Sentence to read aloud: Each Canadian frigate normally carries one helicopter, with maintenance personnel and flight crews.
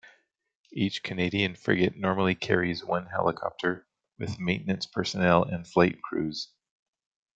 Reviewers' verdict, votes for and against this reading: rejected, 0, 2